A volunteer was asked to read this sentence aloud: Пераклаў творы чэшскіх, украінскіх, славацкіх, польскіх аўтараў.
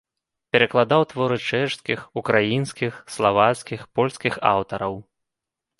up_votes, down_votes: 1, 2